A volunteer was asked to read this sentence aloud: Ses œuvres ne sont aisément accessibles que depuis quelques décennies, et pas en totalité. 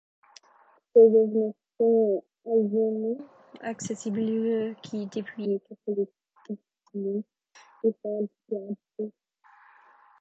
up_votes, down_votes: 0, 2